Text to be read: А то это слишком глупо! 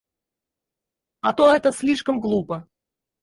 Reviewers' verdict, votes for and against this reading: rejected, 0, 4